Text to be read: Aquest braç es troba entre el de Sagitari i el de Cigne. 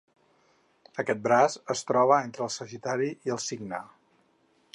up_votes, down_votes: 0, 4